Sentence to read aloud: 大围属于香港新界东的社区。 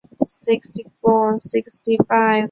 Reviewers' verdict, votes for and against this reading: rejected, 1, 2